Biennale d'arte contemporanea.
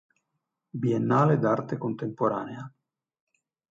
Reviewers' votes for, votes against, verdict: 2, 0, accepted